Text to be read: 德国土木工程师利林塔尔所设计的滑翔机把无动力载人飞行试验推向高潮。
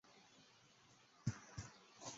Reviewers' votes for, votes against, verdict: 1, 4, rejected